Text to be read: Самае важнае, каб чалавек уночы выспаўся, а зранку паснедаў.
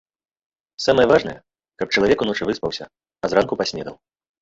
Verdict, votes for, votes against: rejected, 0, 2